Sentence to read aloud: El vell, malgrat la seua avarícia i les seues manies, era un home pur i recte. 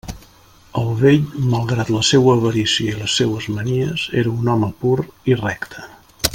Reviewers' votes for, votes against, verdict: 3, 0, accepted